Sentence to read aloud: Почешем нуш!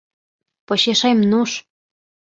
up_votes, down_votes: 2, 0